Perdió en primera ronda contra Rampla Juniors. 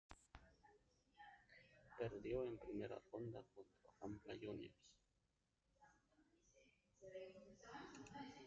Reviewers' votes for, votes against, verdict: 0, 2, rejected